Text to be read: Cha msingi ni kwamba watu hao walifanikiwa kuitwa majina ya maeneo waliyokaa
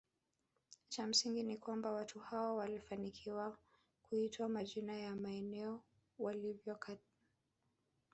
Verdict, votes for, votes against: accepted, 2, 0